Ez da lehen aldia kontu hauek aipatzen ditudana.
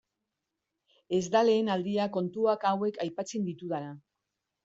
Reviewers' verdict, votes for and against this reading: rejected, 0, 2